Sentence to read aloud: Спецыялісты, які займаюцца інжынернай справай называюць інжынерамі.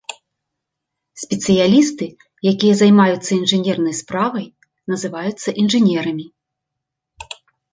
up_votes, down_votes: 0, 2